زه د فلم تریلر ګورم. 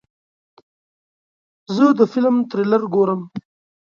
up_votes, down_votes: 2, 0